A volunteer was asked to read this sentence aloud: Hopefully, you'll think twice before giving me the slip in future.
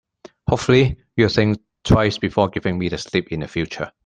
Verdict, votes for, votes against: rejected, 1, 2